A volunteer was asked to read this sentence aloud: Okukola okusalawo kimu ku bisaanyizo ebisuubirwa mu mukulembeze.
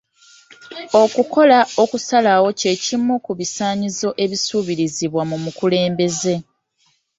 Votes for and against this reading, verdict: 1, 2, rejected